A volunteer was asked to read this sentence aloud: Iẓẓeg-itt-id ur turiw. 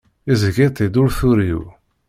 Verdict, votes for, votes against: accepted, 2, 0